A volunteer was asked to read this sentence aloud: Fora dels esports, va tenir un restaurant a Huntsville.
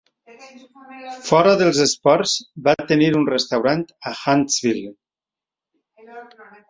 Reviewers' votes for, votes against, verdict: 2, 0, accepted